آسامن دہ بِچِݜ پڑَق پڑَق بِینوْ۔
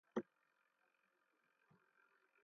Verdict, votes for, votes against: rejected, 0, 2